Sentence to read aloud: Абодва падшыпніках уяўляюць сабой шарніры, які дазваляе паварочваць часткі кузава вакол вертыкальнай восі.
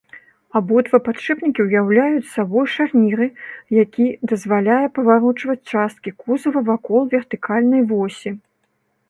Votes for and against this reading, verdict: 1, 2, rejected